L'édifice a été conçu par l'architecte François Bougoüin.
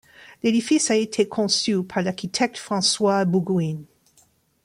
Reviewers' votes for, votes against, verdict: 1, 2, rejected